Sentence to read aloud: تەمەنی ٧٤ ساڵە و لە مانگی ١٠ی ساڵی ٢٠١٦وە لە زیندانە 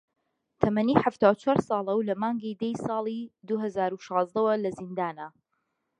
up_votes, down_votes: 0, 2